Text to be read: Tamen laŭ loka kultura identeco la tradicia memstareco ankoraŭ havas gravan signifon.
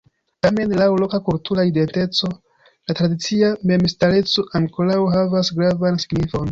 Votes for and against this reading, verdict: 1, 2, rejected